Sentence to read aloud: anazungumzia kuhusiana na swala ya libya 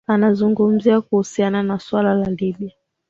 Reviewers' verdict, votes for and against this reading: accepted, 2, 1